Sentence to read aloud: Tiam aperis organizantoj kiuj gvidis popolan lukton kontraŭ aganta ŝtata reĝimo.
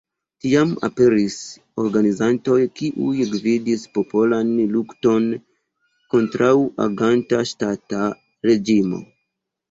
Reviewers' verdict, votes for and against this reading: accepted, 2, 1